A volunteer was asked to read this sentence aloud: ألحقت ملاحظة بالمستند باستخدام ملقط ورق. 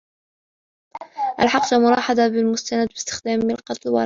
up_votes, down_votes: 0, 2